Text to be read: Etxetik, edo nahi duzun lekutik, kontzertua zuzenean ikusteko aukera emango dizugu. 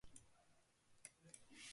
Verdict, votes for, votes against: rejected, 0, 2